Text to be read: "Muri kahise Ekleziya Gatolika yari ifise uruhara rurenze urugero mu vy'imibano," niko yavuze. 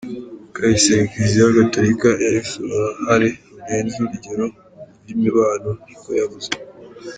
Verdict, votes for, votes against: rejected, 0, 2